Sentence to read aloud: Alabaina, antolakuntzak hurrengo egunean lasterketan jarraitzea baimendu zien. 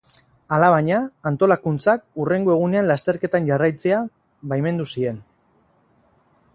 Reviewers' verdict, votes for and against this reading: accepted, 4, 0